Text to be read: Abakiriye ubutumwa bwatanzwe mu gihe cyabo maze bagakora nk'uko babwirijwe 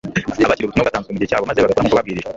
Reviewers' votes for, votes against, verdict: 1, 2, rejected